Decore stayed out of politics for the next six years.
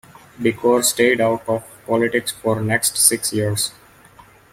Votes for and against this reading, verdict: 2, 1, accepted